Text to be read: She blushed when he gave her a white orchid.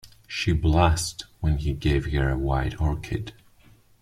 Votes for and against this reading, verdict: 1, 2, rejected